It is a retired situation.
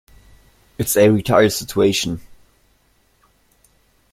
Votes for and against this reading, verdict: 1, 2, rejected